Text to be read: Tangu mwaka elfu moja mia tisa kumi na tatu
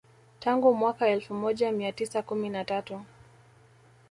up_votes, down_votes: 2, 1